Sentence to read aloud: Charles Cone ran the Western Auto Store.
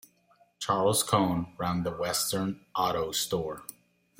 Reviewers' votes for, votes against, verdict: 2, 0, accepted